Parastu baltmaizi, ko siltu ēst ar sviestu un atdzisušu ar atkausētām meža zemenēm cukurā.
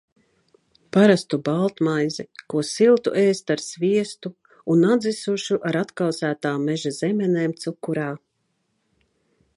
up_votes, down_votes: 3, 0